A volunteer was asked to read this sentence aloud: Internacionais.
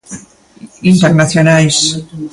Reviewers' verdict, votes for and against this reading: rejected, 1, 2